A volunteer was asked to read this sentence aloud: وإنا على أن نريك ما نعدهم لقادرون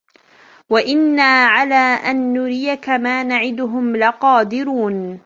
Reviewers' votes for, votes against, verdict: 2, 0, accepted